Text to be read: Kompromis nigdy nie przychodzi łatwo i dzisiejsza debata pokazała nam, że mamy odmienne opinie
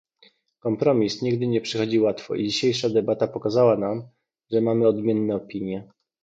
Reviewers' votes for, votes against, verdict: 2, 0, accepted